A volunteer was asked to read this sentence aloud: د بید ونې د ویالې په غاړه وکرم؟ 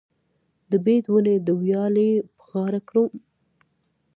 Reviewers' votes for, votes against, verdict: 1, 2, rejected